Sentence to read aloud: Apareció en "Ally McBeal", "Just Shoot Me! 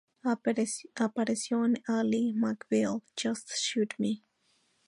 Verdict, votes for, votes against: rejected, 0, 2